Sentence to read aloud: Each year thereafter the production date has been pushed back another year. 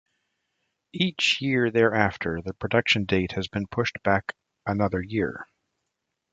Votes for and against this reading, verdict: 2, 0, accepted